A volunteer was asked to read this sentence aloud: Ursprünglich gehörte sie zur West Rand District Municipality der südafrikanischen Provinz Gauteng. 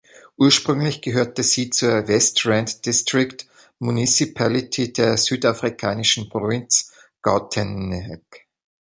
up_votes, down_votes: 0, 2